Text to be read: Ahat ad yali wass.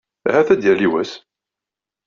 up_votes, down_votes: 2, 0